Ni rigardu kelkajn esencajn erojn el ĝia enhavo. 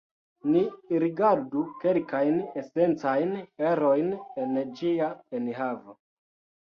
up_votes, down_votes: 1, 2